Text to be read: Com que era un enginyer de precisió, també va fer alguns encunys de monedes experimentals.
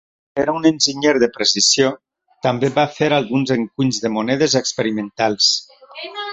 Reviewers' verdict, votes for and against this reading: rejected, 0, 2